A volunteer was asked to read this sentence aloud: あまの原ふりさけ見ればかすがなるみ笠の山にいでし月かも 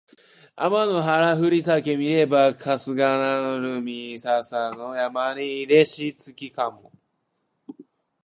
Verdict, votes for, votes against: rejected, 1, 2